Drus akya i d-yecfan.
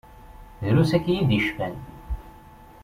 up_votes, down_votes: 2, 0